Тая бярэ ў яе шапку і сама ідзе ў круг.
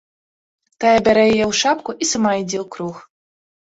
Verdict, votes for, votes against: rejected, 1, 2